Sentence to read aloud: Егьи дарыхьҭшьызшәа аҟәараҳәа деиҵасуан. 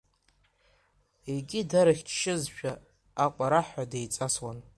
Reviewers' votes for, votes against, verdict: 0, 2, rejected